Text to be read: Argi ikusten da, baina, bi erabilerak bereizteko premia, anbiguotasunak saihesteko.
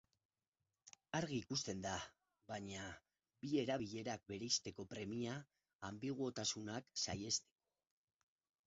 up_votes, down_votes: 2, 2